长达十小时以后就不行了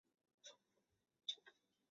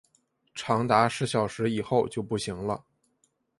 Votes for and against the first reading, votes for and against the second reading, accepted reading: 1, 2, 5, 0, second